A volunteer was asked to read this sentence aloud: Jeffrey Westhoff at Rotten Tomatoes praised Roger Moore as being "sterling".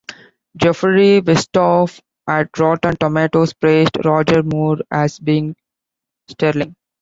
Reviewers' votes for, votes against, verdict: 2, 0, accepted